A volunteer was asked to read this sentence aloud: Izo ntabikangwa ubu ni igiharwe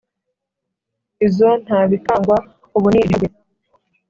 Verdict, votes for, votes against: rejected, 1, 2